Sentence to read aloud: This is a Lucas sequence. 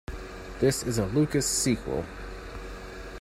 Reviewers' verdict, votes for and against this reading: rejected, 1, 2